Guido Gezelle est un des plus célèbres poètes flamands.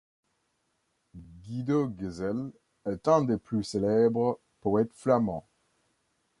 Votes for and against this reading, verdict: 2, 1, accepted